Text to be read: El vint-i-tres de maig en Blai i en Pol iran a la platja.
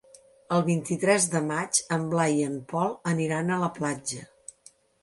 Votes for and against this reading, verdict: 0, 2, rejected